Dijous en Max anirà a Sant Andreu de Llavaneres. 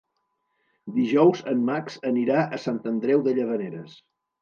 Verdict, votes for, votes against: accepted, 3, 0